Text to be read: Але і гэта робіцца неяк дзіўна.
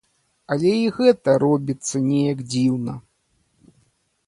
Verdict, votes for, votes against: accepted, 2, 0